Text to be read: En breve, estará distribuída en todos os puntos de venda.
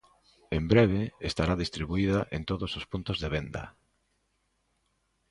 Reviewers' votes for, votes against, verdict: 2, 0, accepted